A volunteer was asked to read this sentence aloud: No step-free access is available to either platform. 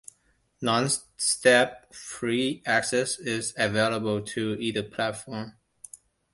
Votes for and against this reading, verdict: 2, 0, accepted